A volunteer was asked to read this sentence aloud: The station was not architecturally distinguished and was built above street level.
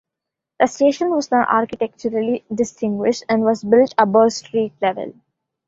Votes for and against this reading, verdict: 1, 2, rejected